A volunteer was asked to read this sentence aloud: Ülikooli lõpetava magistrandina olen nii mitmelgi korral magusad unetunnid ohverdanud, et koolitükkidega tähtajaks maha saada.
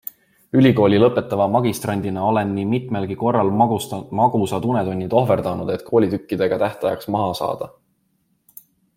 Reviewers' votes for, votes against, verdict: 2, 1, accepted